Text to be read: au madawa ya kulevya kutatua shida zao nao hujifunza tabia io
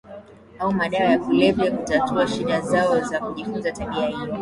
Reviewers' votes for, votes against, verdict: 1, 2, rejected